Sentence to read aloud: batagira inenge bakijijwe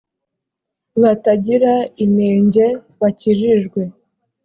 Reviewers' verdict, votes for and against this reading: accepted, 2, 0